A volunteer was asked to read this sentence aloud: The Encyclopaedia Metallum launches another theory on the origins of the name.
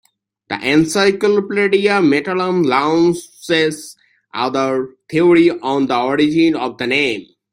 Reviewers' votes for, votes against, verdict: 0, 2, rejected